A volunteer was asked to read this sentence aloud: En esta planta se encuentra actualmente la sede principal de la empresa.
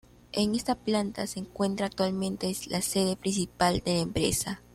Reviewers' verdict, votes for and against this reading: accepted, 2, 0